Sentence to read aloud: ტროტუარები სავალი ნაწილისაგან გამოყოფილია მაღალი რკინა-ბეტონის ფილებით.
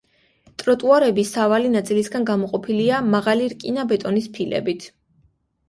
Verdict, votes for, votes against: accepted, 2, 0